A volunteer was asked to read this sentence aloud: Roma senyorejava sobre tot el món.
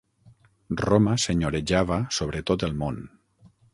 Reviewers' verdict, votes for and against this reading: accepted, 6, 0